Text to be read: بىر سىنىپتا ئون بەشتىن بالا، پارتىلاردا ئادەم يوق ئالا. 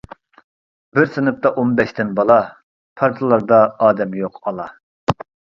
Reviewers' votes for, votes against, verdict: 2, 0, accepted